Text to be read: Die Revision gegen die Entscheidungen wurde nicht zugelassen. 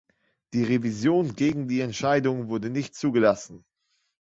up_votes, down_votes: 2, 0